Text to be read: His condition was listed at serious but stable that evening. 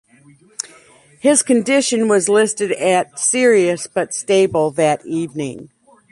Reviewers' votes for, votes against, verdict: 2, 0, accepted